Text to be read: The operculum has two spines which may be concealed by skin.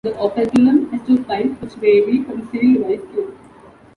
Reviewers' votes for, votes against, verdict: 0, 2, rejected